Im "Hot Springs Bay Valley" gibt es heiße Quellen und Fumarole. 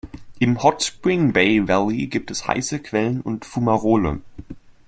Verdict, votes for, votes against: rejected, 0, 2